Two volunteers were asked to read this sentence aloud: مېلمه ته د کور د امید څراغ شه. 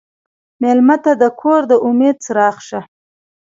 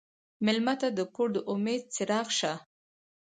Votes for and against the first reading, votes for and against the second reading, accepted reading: 1, 2, 4, 0, second